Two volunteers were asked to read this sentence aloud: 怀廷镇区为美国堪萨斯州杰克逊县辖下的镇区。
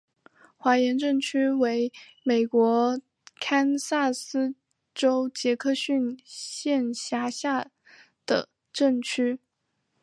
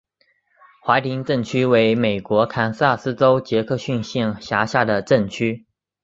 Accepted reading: first